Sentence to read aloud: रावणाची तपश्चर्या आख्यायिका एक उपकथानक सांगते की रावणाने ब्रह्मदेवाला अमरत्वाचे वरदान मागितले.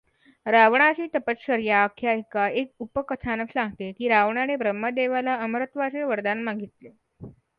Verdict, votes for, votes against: accepted, 2, 0